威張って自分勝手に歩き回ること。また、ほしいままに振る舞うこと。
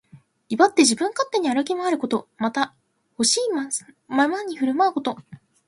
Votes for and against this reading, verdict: 2, 1, accepted